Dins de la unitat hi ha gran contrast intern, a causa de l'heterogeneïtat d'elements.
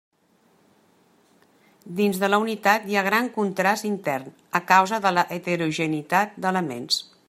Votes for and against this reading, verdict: 1, 2, rejected